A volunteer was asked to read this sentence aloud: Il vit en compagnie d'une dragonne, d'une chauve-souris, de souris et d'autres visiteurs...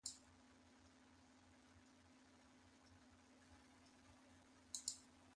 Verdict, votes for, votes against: rejected, 0, 2